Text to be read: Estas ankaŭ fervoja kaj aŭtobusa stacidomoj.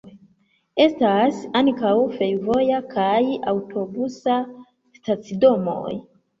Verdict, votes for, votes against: accepted, 2, 1